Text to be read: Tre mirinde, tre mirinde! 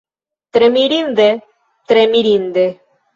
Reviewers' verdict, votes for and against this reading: accepted, 2, 0